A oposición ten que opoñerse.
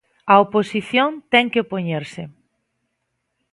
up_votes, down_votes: 2, 0